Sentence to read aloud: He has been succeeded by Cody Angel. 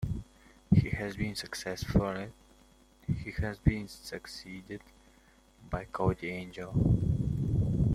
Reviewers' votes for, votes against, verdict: 1, 2, rejected